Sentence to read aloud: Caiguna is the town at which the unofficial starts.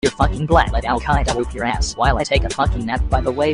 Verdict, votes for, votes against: rejected, 0, 2